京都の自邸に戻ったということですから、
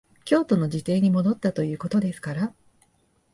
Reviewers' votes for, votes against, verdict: 2, 3, rejected